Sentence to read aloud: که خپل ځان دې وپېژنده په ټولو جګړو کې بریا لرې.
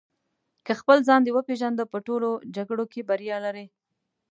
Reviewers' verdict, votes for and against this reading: accepted, 2, 0